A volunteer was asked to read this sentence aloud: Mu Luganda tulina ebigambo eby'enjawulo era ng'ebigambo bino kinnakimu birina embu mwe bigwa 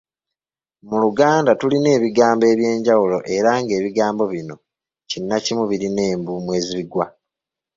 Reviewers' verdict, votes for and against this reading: rejected, 0, 2